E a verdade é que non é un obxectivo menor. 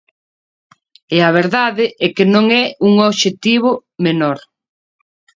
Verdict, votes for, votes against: accepted, 2, 0